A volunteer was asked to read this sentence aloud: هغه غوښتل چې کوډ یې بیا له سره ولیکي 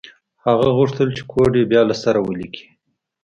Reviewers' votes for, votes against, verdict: 2, 0, accepted